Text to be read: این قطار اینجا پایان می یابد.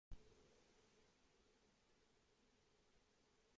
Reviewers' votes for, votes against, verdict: 1, 2, rejected